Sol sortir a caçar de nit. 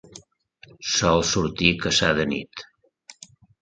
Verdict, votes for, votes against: accepted, 2, 0